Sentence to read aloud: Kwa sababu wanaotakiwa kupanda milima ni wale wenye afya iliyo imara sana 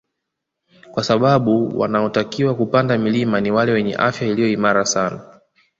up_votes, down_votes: 2, 0